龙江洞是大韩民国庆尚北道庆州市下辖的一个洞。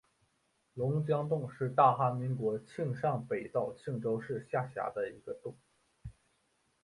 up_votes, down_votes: 2, 0